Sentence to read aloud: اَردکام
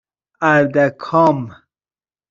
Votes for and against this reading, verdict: 3, 1, accepted